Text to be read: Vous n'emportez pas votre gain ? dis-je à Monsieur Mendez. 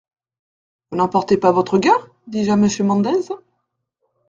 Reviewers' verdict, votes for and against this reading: rejected, 0, 2